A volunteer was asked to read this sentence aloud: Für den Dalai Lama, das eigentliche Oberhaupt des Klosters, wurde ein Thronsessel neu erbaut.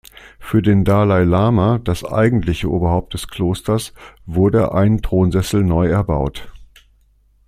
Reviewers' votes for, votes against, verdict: 2, 0, accepted